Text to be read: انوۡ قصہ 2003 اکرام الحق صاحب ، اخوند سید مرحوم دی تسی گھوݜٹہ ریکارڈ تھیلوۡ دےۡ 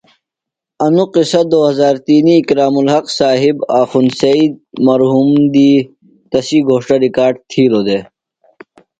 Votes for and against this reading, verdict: 0, 2, rejected